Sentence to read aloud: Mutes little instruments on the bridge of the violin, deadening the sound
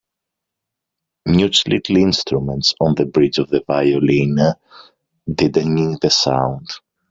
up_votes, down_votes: 1, 2